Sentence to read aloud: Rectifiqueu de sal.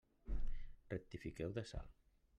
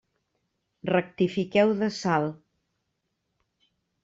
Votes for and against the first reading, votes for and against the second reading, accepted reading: 1, 2, 3, 0, second